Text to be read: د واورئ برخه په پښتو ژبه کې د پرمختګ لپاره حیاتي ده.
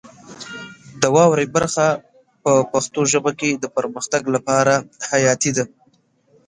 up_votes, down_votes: 1, 2